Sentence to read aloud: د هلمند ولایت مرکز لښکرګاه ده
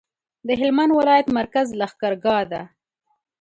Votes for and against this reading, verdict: 2, 0, accepted